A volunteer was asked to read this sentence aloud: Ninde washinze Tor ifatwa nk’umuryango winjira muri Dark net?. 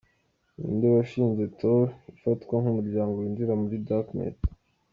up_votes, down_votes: 0, 2